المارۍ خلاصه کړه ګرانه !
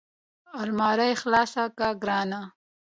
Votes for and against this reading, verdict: 2, 0, accepted